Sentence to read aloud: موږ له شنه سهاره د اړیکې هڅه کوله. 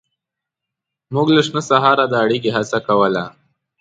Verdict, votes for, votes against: accepted, 2, 0